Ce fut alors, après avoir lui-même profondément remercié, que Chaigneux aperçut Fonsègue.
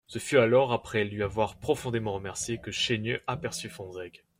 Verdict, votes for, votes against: rejected, 1, 2